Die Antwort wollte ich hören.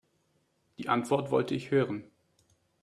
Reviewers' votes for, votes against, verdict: 2, 0, accepted